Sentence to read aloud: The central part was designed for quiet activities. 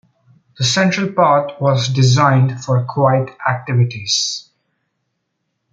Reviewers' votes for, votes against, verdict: 2, 0, accepted